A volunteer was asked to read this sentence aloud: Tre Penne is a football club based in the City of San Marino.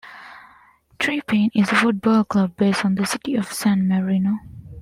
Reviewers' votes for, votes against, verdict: 2, 0, accepted